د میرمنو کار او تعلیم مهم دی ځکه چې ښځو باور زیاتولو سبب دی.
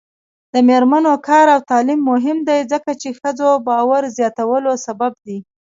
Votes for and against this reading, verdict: 0, 2, rejected